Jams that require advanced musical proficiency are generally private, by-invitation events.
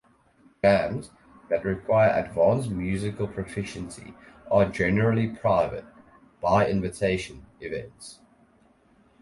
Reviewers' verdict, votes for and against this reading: rejected, 2, 2